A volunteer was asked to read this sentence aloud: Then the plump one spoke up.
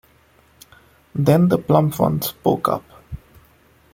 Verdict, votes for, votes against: rejected, 0, 2